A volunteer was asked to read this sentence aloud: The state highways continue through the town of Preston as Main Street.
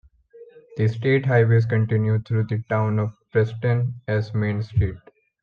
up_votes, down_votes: 2, 0